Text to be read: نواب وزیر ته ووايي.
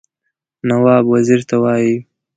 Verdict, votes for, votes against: accepted, 2, 0